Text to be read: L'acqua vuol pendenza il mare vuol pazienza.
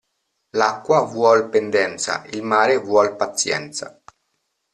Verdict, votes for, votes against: accepted, 2, 0